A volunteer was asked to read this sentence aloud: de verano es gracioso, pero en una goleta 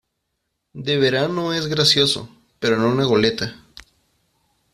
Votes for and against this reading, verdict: 2, 1, accepted